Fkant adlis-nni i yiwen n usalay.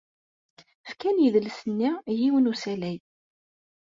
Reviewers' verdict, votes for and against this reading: rejected, 1, 2